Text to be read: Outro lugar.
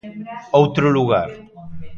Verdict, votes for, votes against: accepted, 2, 0